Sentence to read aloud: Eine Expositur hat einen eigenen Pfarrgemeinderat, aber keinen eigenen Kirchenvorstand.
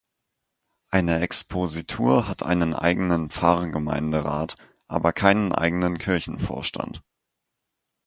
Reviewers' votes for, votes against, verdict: 6, 0, accepted